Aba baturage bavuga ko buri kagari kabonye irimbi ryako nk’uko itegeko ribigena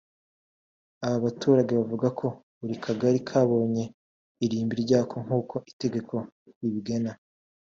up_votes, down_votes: 3, 1